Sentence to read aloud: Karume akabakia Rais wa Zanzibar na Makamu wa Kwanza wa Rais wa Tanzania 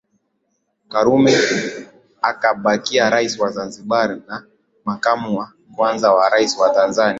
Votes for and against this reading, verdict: 5, 3, accepted